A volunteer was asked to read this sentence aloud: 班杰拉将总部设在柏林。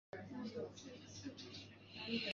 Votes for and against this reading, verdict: 0, 3, rejected